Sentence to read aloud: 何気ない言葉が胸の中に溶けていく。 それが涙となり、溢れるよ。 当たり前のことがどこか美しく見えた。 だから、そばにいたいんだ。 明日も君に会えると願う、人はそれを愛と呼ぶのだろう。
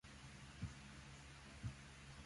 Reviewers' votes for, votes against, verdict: 0, 2, rejected